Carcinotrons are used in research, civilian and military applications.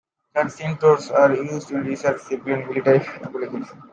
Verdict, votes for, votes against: rejected, 0, 2